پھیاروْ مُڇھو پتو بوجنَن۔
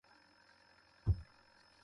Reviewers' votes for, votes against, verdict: 0, 2, rejected